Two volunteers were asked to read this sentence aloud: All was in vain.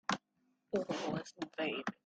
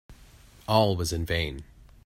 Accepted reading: second